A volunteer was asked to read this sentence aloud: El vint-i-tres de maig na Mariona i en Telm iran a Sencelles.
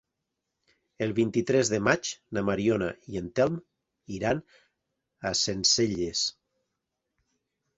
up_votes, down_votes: 3, 0